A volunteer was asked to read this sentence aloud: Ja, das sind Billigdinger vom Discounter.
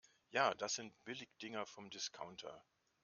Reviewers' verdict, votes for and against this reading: accepted, 2, 0